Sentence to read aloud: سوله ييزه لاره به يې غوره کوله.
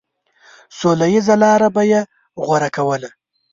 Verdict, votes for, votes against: accepted, 2, 0